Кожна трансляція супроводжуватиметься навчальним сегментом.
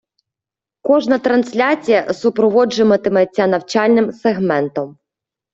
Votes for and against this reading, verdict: 1, 2, rejected